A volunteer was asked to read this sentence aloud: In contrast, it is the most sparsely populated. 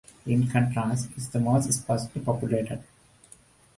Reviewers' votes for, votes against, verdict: 2, 1, accepted